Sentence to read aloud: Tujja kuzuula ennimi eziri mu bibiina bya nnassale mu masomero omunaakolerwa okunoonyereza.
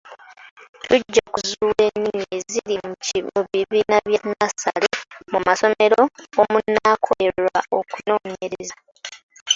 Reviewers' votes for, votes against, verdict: 0, 2, rejected